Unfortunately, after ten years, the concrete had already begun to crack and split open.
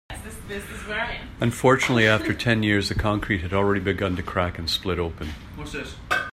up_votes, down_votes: 0, 2